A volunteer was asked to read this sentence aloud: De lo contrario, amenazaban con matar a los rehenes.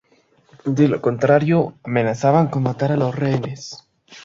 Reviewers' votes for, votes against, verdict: 2, 0, accepted